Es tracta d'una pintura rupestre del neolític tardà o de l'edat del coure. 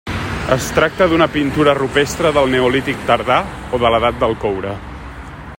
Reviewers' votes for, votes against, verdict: 3, 0, accepted